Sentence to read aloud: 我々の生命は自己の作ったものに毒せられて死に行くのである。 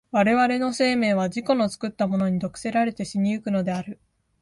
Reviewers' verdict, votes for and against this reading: accepted, 2, 0